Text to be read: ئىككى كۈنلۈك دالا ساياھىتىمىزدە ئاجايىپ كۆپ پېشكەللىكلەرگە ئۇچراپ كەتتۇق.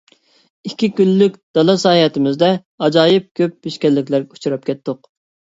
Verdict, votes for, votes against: accepted, 2, 0